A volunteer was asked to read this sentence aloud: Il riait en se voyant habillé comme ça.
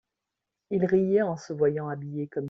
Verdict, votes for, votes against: rejected, 1, 2